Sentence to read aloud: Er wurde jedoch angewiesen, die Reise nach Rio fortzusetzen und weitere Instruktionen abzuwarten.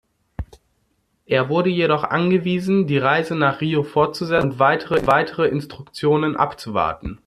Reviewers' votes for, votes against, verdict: 0, 2, rejected